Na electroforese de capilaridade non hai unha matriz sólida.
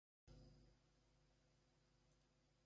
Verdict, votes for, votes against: rejected, 0, 2